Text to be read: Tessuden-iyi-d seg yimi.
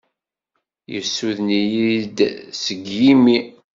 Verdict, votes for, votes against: rejected, 1, 2